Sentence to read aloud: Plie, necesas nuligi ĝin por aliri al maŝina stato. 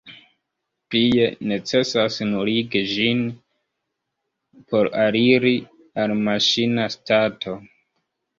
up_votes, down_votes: 0, 2